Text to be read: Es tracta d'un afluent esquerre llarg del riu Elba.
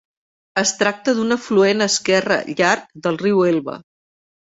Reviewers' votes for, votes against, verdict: 2, 0, accepted